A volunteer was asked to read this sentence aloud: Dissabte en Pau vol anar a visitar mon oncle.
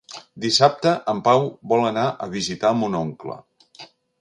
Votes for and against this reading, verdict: 3, 0, accepted